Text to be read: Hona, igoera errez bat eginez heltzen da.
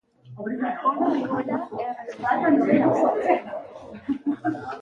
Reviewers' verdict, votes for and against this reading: rejected, 0, 2